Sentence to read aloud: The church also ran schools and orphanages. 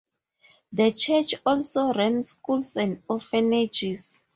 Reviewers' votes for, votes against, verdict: 0, 2, rejected